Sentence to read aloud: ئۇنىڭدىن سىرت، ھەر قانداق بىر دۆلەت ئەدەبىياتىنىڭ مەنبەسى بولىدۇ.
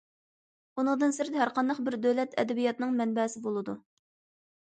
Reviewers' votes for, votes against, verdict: 2, 0, accepted